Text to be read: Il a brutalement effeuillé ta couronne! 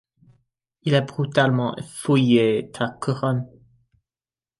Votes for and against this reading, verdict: 1, 2, rejected